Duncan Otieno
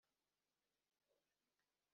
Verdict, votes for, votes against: rejected, 1, 2